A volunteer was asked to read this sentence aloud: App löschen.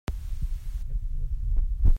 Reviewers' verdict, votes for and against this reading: rejected, 0, 2